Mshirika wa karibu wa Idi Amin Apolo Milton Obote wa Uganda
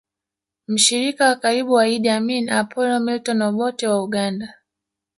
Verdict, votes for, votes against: accepted, 2, 0